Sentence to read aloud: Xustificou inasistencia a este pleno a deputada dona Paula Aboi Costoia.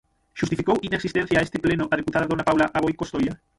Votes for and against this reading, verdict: 0, 6, rejected